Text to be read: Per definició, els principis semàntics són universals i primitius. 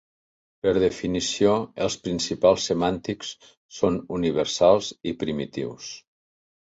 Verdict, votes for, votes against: rejected, 1, 2